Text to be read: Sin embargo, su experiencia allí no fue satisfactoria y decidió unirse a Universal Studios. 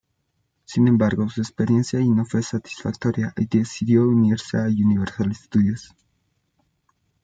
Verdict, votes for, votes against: rejected, 1, 2